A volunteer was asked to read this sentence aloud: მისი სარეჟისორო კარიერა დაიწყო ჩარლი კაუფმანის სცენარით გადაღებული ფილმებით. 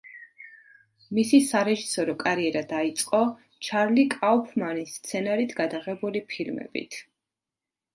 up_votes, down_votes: 2, 0